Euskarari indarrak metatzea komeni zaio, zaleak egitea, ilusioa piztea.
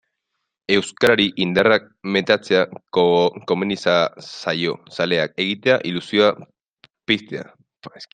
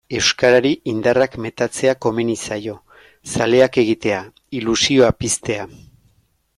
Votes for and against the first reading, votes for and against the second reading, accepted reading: 1, 2, 2, 0, second